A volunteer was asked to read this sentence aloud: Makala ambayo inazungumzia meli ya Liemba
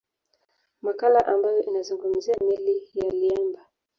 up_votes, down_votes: 2, 0